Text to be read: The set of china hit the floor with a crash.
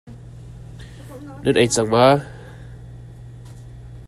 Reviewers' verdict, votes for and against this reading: rejected, 0, 2